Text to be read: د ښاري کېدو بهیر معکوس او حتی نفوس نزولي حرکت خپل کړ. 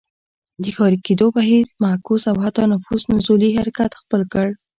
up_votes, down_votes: 2, 0